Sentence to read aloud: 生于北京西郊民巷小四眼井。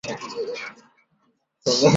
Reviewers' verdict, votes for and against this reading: rejected, 0, 5